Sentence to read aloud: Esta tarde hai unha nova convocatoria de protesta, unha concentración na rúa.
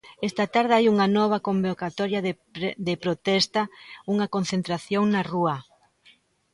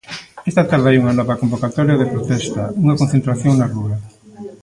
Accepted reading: second